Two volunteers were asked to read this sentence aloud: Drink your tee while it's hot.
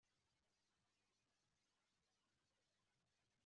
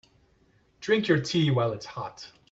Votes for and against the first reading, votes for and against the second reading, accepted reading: 0, 3, 2, 0, second